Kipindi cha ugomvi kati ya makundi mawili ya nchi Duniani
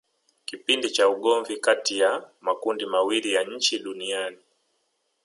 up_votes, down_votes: 3, 2